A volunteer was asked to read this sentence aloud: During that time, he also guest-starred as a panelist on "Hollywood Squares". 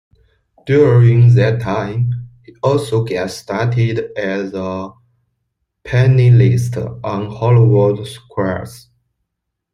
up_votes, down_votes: 0, 2